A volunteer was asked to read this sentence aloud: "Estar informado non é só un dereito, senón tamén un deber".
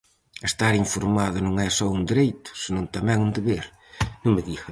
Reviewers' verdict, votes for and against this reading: rejected, 0, 4